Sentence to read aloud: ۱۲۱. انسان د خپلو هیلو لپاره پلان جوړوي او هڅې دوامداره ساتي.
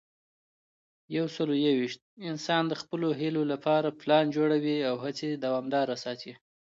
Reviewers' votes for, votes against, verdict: 0, 2, rejected